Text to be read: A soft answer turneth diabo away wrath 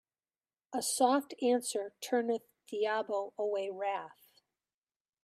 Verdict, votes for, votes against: accepted, 2, 0